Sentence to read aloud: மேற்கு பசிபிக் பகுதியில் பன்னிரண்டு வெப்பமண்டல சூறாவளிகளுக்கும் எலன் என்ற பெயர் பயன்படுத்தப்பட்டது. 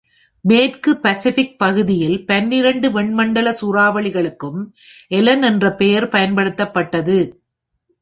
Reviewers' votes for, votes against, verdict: 0, 2, rejected